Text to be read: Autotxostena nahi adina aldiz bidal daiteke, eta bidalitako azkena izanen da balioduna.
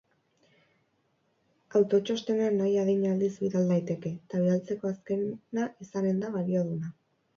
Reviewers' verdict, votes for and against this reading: rejected, 0, 4